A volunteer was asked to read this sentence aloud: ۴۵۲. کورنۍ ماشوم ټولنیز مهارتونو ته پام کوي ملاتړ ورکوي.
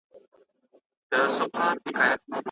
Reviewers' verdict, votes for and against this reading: rejected, 0, 2